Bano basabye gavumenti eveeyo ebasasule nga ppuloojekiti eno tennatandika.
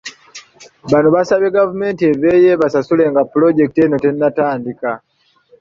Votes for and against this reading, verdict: 2, 0, accepted